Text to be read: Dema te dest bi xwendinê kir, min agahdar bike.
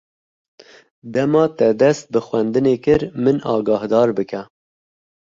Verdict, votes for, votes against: accepted, 2, 0